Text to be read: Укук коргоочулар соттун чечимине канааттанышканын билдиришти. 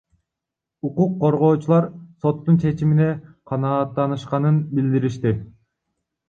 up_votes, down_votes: 1, 2